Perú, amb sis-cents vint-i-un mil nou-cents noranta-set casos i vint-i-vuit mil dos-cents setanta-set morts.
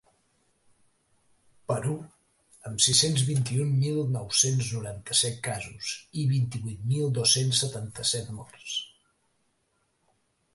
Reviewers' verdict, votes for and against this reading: accepted, 3, 0